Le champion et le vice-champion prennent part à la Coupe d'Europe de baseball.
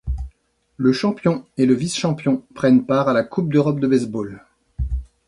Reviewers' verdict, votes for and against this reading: accepted, 2, 0